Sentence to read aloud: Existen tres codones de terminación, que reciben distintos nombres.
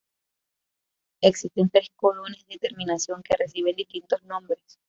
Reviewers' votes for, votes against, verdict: 1, 2, rejected